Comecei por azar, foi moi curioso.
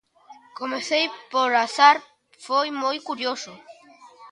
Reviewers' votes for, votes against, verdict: 1, 2, rejected